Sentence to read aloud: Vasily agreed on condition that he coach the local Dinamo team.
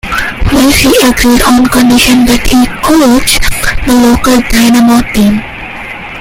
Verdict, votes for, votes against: rejected, 0, 2